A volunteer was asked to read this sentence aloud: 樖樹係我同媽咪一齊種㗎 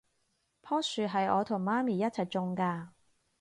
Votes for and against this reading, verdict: 4, 0, accepted